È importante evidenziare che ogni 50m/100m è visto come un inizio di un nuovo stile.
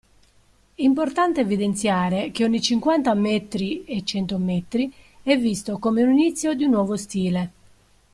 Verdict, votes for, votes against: rejected, 0, 2